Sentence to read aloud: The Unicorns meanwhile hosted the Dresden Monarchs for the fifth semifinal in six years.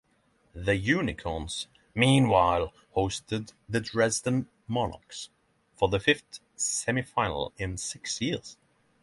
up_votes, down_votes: 3, 0